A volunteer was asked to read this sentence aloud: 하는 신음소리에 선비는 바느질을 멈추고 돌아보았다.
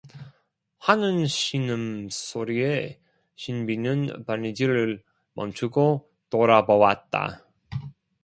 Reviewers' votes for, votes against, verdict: 0, 2, rejected